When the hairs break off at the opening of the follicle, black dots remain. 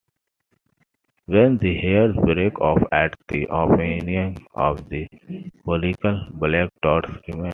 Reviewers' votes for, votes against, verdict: 0, 2, rejected